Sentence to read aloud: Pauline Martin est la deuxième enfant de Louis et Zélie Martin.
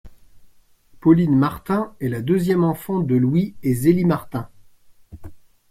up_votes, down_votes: 2, 0